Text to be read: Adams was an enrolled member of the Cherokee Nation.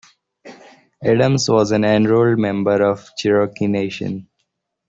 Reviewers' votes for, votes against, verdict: 0, 2, rejected